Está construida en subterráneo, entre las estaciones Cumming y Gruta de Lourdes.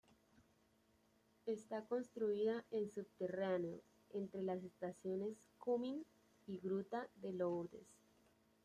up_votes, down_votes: 2, 0